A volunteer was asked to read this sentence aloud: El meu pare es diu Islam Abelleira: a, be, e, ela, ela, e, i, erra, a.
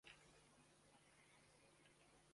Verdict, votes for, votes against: rejected, 0, 2